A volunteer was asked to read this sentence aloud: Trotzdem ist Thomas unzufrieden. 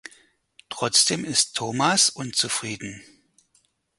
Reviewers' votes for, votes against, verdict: 4, 0, accepted